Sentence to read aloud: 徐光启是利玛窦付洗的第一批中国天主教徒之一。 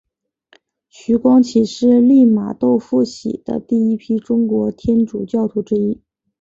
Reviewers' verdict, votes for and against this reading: accepted, 10, 0